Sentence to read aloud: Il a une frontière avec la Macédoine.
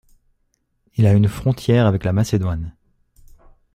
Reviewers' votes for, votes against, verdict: 2, 0, accepted